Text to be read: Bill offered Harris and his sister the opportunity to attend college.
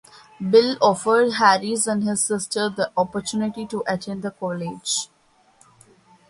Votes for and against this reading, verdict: 3, 0, accepted